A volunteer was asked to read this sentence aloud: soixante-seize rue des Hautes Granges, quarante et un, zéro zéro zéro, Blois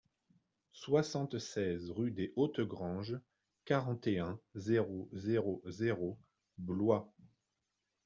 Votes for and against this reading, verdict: 2, 1, accepted